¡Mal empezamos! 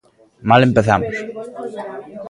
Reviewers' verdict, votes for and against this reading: accepted, 2, 0